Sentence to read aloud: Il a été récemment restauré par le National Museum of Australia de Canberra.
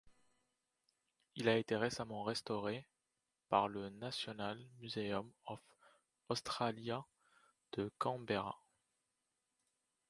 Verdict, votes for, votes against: rejected, 1, 2